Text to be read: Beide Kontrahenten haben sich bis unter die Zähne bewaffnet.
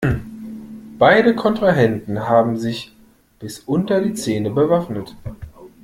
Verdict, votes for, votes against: accepted, 2, 0